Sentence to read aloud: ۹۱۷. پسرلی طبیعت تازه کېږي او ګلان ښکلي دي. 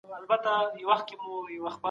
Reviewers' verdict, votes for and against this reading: rejected, 0, 2